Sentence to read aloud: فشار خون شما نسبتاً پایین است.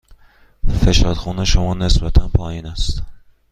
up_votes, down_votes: 2, 0